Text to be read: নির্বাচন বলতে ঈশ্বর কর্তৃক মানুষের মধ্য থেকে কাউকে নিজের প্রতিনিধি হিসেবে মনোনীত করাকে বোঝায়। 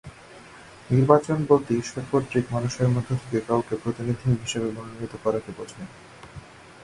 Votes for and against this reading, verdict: 0, 2, rejected